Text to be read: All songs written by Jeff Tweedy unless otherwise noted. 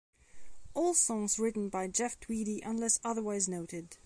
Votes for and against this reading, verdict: 2, 1, accepted